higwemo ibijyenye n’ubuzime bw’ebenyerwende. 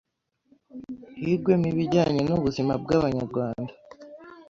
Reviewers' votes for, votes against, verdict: 1, 2, rejected